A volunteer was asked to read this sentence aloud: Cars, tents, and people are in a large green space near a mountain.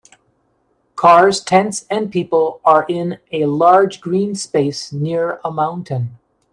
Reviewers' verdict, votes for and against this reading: accepted, 2, 0